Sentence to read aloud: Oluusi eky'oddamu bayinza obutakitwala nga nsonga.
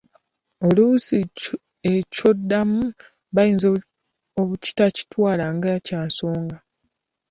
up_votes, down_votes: 1, 2